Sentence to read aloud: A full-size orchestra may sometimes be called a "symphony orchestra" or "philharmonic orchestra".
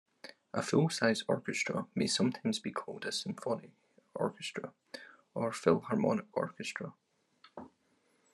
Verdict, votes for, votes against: accepted, 2, 0